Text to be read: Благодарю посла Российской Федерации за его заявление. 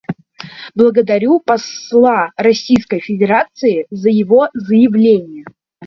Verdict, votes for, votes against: accepted, 2, 0